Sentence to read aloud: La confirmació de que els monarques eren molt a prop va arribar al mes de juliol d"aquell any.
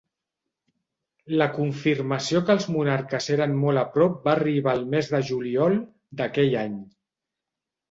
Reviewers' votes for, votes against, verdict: 1, 2, rejected